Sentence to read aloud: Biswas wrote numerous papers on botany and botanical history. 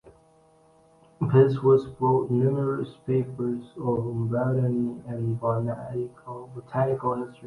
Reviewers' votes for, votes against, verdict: 0, 2, rejected